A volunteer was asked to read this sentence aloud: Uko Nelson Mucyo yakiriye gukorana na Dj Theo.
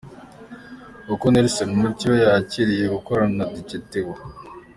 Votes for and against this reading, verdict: 2, 1, accepted